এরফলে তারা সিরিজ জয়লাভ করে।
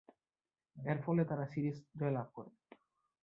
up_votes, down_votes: 4, 2